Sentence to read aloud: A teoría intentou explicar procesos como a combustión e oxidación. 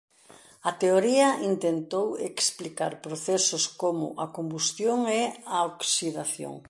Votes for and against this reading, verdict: 0, 2, rejected